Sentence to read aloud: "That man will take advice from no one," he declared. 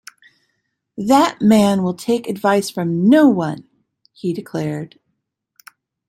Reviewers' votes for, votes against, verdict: 2, 0, accepted